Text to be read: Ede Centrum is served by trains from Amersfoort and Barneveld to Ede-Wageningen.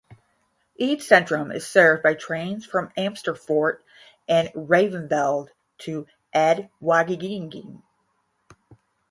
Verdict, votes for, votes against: rejected, 0, 5